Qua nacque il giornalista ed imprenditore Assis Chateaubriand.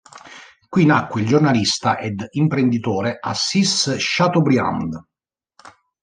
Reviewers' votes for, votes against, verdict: 1, 2, rejected